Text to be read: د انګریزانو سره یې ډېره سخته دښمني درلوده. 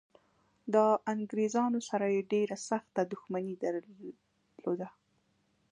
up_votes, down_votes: 2, 0